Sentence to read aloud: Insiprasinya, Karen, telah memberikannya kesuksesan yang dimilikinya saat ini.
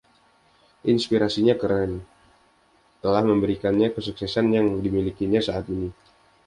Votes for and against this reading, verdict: 0, 2, rejected